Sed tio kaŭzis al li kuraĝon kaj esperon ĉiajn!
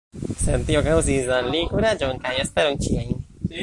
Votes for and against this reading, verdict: 0, 2, rejected